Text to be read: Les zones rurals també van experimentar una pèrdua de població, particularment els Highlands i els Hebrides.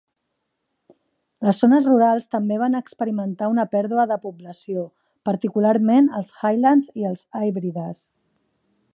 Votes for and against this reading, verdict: 2, 0, accepted